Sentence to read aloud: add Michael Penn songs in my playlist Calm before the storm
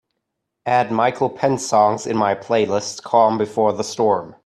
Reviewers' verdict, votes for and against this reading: accepted, 2, 0